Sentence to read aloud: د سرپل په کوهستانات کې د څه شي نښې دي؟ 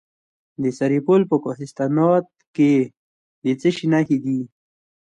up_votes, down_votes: 2, 0